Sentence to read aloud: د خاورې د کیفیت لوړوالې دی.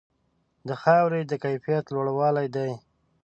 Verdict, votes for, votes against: accepted, 2, 0